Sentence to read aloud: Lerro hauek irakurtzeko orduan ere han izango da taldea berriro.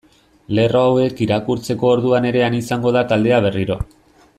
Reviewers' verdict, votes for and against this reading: accepted, 2, 0